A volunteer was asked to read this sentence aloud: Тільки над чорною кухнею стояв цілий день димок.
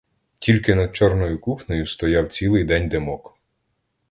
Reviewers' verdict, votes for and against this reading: accepted, 2, 0